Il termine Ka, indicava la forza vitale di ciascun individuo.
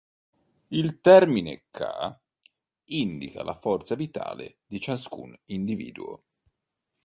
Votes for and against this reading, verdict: 0, 2, rejected